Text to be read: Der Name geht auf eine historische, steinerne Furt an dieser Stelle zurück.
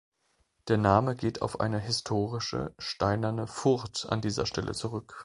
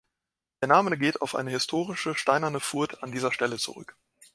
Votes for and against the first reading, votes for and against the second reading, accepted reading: 2, 0, 1, 2, first